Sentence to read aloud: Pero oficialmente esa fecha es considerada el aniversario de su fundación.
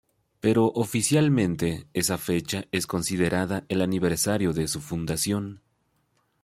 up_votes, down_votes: 2, 0